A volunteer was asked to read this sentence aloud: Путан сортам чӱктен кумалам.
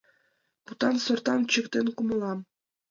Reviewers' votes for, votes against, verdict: 1, 2, rejected